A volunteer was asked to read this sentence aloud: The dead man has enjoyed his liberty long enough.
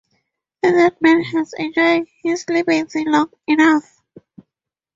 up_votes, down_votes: 2, 0